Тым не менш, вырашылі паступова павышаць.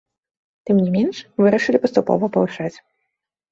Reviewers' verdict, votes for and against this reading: rejected, 0, 2